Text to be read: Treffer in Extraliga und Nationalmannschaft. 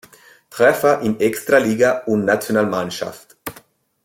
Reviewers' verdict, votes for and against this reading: accepted, 2, 0